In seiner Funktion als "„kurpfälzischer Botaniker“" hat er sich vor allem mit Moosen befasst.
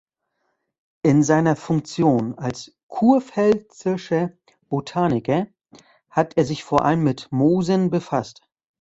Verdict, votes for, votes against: rejected, 1, 2